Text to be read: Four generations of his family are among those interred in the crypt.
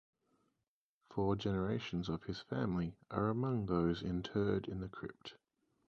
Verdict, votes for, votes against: accepted, 4, 2